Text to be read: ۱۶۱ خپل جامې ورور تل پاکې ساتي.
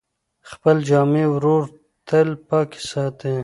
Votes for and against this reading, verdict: 0, 2, rejected